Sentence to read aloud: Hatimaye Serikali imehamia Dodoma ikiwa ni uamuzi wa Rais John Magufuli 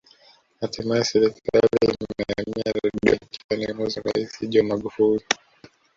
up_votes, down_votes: 0, 2